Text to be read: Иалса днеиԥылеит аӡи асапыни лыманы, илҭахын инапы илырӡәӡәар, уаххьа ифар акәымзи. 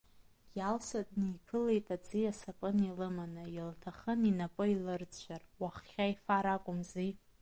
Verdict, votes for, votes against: rejected, 1, 2